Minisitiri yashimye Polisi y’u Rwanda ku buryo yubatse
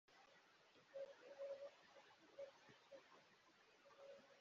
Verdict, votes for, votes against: rejected, 0, 2